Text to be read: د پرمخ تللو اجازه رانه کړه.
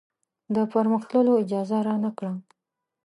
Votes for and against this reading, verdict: 2, 0, accepted